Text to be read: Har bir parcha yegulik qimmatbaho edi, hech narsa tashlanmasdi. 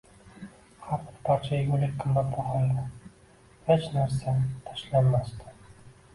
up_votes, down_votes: 0, 2